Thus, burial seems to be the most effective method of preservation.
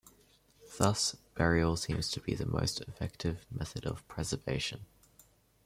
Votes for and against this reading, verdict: 0, 2, rejected